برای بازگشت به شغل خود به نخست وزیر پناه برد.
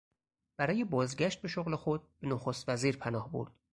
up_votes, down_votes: 0, 4